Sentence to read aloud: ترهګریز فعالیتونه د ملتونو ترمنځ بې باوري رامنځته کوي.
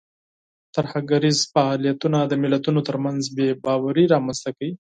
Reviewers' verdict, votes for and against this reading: accepted, 4, 0